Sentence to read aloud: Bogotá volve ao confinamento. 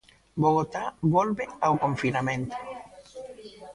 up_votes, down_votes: 1, 2